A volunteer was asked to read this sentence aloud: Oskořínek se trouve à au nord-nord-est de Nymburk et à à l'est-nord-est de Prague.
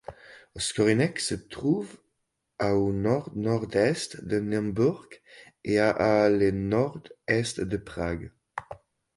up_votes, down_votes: 1, 2